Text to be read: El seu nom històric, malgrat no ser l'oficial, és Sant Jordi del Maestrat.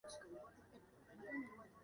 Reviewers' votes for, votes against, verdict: 0, 2, rejected